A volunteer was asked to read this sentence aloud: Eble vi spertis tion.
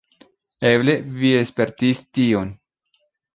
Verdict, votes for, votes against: rejected, 1, 2